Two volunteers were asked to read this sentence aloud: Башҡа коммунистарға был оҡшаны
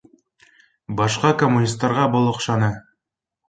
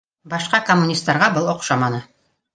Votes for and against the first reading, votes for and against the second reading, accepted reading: 2, 0, 1, 2, first